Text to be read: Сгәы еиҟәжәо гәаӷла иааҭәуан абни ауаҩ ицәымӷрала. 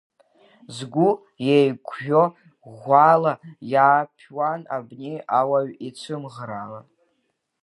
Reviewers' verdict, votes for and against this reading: rejected, 0, 2